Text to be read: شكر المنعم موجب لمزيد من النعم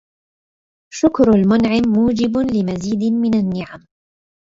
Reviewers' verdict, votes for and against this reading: rejected, 1, 2